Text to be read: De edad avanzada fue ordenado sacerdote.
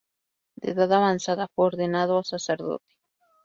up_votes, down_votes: 0, 2